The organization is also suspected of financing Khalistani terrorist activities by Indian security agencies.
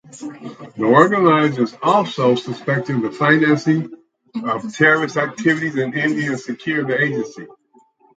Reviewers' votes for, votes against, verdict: 0, 4, rejected